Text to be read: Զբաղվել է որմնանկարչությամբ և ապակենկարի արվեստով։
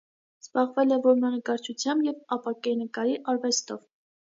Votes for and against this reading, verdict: 2, 0, accepted